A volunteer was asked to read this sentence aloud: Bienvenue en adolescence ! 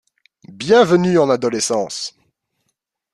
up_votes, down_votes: 2, 0